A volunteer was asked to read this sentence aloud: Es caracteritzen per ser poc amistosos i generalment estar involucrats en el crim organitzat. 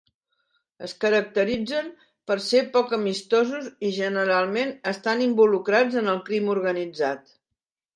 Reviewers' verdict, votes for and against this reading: rejected, 1, 2